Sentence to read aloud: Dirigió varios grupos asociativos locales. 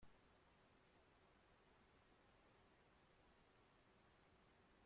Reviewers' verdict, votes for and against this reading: rejected, 0, 2